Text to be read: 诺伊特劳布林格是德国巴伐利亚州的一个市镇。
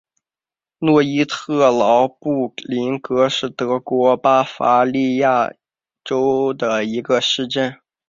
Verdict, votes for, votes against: accepted, 3, 0